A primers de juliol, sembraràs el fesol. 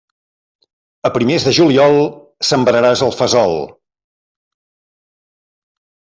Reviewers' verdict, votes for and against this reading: accepted, 2, 0